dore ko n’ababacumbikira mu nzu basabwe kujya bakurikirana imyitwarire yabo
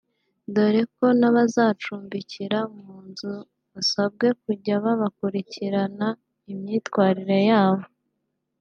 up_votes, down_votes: 1, 2